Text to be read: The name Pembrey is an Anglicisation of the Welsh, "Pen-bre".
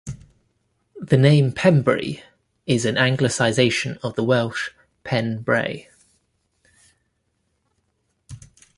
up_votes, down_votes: 1, 2